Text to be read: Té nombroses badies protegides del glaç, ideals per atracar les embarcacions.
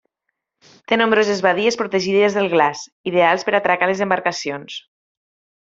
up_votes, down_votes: 2, 0